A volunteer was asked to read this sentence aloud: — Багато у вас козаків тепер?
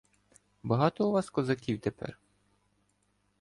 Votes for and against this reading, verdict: 2, 0, accepted